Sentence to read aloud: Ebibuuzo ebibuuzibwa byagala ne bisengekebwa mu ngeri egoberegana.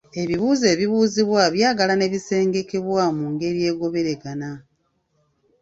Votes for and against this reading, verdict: 2, 0, accepted